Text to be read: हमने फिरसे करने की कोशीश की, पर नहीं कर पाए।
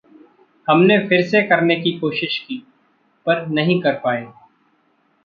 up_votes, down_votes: 2, 0